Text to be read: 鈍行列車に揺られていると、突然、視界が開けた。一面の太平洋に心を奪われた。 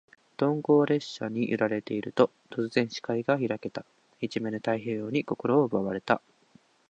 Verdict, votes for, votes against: accepted, 4, 0